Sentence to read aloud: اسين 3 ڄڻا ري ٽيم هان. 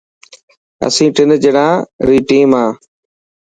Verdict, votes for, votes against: rejected, 0, 2